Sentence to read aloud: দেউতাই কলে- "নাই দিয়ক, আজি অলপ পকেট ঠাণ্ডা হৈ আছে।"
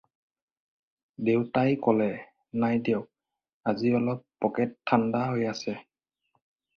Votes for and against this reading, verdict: 4, 0, accepted